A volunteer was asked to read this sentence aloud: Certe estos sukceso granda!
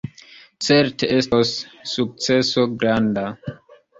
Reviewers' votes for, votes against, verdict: 2, 0, accepted